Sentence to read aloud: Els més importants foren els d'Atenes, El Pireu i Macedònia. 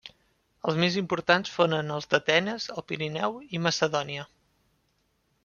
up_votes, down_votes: 1, 2